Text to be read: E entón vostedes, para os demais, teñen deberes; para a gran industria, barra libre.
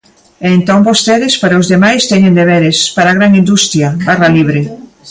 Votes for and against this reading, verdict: 2, 1, accepted